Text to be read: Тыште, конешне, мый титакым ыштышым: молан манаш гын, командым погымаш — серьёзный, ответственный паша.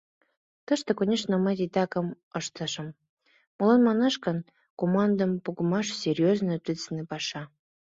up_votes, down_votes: 2, 0